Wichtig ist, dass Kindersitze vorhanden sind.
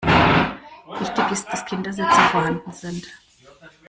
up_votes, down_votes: 1, 2